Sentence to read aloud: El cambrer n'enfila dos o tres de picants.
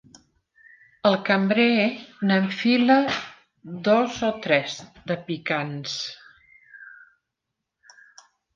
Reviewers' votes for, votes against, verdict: 2, 0, accepted